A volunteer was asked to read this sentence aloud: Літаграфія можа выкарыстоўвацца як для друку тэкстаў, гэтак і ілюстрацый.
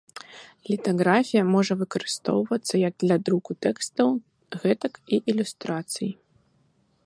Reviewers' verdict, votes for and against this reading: rejected, 1, 2